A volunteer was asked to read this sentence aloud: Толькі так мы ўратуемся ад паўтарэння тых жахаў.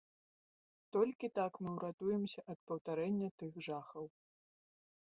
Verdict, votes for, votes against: accepted, 2, 0